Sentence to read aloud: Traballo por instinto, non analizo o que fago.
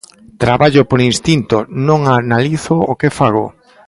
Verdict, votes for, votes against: accepted, 2, 0